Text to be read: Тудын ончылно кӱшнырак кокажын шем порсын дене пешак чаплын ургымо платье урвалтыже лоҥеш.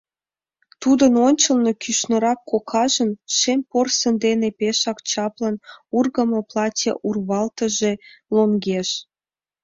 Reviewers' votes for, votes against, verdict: 2, 1, accepted